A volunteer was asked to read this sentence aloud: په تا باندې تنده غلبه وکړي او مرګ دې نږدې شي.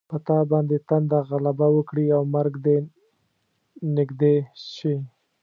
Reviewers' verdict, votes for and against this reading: accepted, 2, 0